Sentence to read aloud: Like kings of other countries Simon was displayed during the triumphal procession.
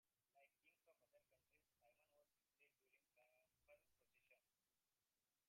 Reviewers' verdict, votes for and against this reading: rejected, 0, 2